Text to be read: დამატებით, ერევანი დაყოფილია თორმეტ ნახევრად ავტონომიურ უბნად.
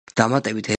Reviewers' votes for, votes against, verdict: 0, 2, rejected